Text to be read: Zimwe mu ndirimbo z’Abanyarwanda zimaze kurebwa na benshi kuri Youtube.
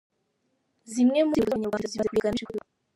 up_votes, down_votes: 0, 2